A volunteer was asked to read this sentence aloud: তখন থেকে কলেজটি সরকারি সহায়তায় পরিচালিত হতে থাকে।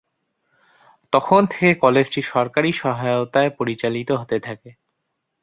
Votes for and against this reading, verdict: 0, 2, rejected